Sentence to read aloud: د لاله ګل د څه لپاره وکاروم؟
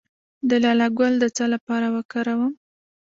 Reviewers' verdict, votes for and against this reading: accepted, 2, 1